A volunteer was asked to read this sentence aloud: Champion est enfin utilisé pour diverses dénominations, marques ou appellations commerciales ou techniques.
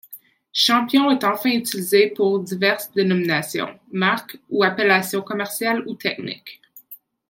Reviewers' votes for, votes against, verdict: 2, 0, accepted